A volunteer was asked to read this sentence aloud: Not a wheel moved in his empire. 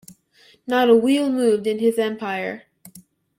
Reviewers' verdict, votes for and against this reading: accepted, 2, 0